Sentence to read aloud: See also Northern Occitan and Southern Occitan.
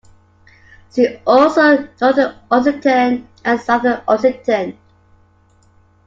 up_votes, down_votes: 1, 2